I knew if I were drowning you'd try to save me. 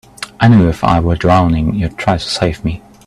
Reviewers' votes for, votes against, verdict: 2, 0, accepted